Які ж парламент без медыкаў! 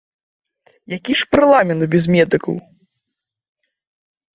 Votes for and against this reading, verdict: 0, 2, rejected